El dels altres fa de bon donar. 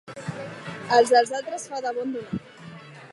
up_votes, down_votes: 1, 2